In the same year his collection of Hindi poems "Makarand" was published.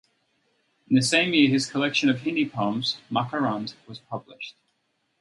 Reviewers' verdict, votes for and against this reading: accepted, 4, 0